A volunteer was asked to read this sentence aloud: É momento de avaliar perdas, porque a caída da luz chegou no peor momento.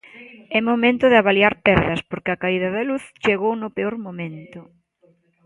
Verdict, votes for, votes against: accepted, 2, 0